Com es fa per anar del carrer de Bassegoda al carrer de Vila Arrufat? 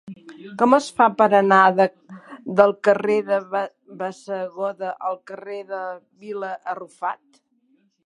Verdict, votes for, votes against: rejected, 0, 2